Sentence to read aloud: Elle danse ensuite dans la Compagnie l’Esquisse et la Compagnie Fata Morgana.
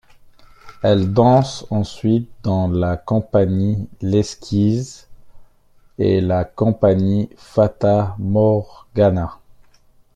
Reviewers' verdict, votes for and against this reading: accepted, 2, 1